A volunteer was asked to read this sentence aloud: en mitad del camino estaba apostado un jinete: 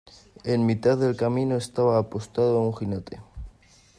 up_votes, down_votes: 2, 0